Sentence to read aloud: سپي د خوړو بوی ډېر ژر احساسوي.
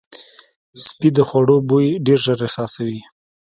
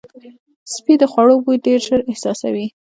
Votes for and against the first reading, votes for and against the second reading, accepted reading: 0, 2, 2, 1, second